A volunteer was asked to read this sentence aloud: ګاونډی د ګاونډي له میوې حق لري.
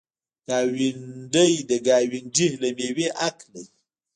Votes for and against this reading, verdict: 0, 2, rejected